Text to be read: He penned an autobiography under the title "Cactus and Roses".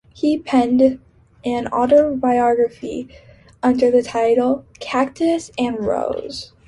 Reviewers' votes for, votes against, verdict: 0, 2, rejected